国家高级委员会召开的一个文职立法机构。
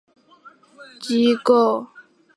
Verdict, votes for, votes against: rejected, 1, 2